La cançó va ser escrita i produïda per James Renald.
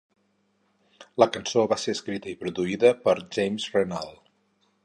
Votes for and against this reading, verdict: 4, 0, accepted